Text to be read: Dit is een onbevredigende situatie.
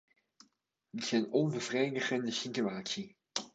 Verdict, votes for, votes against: rejected, 1, 2